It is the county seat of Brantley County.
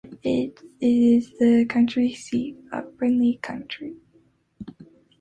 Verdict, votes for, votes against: rejected, 0, 2